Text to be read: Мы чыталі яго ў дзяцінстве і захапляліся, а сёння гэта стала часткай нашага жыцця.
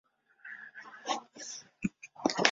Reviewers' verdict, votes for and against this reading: rejected, 0, 2